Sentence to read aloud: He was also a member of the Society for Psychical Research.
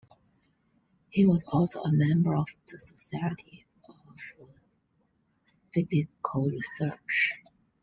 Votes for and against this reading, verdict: 0, 2, rejected